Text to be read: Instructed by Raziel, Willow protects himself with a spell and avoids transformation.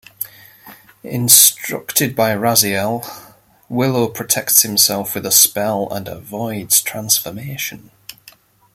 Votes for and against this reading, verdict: 2, 0, accepted